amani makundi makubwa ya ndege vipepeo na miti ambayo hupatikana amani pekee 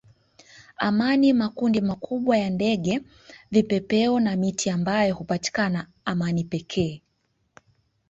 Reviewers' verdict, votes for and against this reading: accepted, 5, 0